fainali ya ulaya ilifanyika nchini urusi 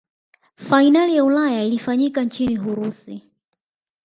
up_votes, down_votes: 4, 0